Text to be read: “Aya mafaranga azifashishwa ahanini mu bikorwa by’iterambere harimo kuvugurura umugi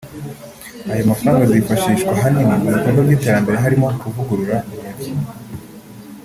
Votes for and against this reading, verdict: 2, 1, accepted